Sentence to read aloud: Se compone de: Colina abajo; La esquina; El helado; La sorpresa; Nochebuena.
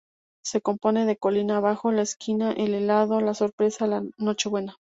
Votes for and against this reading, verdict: 0, 2, rejected